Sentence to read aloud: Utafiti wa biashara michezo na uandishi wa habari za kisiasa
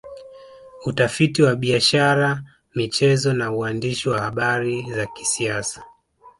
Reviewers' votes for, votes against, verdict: 0, 2, rejected